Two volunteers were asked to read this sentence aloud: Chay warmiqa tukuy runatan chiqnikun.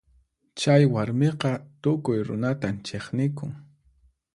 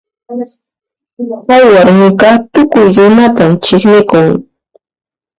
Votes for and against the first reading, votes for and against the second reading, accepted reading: 4, 0, 1, 2, first